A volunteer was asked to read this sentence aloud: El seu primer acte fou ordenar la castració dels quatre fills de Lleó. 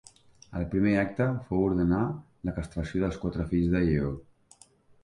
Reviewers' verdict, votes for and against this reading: rejected, 0, 2